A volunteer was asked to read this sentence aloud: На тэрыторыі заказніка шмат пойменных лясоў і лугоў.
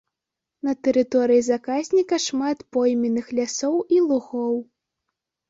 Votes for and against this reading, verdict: 2, 1, accepted